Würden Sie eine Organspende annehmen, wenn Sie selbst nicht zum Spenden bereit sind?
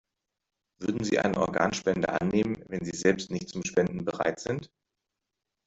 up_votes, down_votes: 2, 0